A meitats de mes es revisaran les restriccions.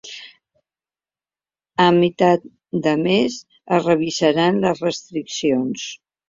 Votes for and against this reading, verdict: 0, 2, rejected